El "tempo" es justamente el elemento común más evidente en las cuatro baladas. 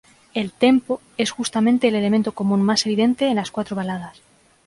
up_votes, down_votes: 2, 0